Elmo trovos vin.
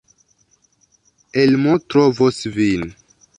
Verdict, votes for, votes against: accepted, 2, 0